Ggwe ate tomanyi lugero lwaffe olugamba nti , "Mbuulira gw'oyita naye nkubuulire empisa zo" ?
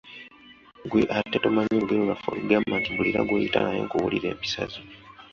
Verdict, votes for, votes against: rejected, 0, 2